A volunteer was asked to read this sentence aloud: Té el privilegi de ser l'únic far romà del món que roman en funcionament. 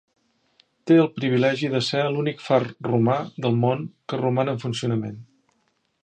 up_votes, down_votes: 1, 2